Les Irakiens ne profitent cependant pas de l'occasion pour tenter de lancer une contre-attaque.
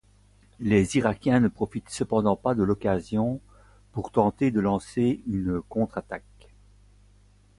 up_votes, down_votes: 4, 0